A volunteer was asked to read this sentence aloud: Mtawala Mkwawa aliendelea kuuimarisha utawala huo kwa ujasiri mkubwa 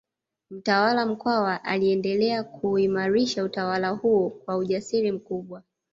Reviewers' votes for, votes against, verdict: 2, 0, accepted